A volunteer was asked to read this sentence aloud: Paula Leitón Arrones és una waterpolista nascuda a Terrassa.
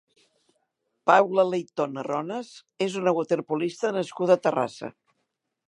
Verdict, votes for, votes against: accepted, 2, 0